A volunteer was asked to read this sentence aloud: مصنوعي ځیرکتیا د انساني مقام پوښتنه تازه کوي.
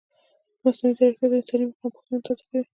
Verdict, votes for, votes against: rejected, 0, 2